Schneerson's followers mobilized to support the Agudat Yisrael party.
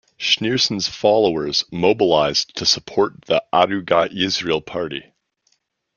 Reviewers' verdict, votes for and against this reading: accepted, 2, 0